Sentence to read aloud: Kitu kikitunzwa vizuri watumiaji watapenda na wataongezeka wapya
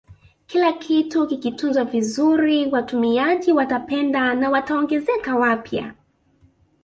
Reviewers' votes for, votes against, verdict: 0, 2, rejected